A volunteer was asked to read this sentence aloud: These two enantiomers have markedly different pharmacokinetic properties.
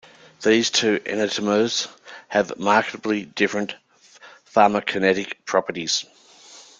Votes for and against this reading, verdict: 1, 2, rejected